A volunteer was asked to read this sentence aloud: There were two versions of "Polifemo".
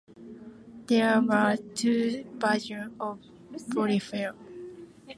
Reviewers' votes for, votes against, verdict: 1, 2, rejected